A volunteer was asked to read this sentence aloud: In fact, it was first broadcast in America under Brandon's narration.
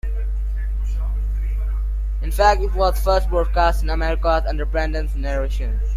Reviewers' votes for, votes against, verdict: 2, 0, accepted